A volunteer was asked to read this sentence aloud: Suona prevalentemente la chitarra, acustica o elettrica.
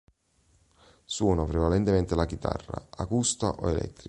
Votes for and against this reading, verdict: 0, 2, rejected